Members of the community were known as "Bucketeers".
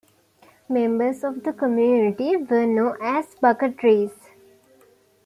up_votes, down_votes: 0, 2